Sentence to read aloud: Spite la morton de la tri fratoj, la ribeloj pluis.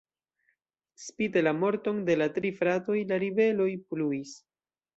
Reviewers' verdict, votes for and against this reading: accepted, 2, 0